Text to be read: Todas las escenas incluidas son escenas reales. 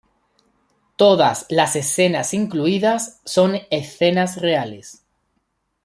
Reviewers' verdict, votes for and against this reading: accepted, 2, 0